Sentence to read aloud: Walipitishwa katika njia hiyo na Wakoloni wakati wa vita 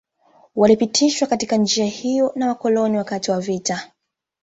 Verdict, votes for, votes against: accepted, 2, 0